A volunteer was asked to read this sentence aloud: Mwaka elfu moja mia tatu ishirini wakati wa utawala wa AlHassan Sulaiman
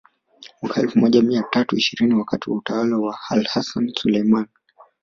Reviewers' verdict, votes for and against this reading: accepted, 3, 0